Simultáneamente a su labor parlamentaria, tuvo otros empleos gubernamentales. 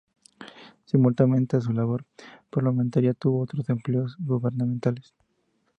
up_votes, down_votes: 2, 0